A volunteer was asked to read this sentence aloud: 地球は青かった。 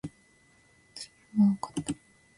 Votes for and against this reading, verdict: 0, 2, rejected